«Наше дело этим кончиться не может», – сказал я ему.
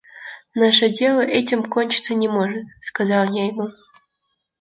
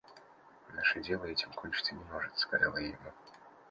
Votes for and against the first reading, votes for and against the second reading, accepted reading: 2, 0, 0, 2, first